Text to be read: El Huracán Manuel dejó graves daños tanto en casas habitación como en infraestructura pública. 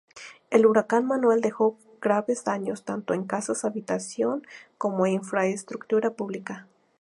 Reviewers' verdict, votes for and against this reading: rejected, 0, 2